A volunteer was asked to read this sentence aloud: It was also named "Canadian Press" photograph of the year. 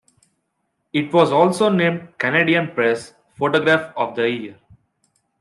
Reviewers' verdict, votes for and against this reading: accepted, 2, 0